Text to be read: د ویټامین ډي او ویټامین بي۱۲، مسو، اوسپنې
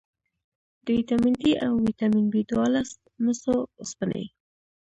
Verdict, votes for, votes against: rejected, 0, 2